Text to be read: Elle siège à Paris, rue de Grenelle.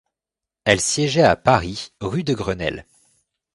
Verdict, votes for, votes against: rejected, 1, 2